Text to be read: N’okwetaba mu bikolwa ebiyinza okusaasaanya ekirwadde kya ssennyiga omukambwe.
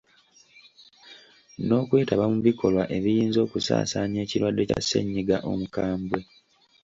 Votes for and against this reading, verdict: 2, 0, accepted